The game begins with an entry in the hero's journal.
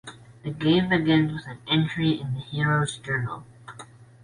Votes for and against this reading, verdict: 2, 0, accepted